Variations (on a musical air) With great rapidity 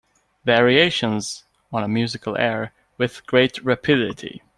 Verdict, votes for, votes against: accepted, 2, 1